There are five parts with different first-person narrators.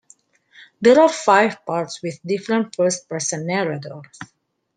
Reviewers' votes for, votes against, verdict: 2, 0, accepted